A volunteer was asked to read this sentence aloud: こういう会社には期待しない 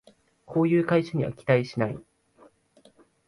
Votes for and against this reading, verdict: 0, 2, rejected